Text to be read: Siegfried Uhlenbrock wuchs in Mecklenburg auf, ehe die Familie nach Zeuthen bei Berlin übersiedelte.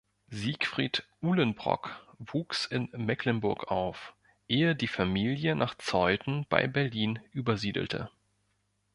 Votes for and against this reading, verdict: 2, 0, accepted